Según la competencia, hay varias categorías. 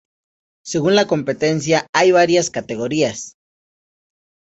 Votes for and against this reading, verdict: 2, 0, accepted